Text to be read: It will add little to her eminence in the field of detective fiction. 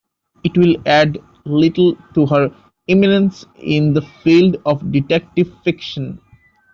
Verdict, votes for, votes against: rejected, 0, 2